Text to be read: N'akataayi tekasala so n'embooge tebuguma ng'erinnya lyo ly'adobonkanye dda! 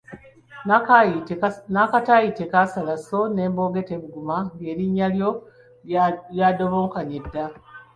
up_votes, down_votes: 1, 3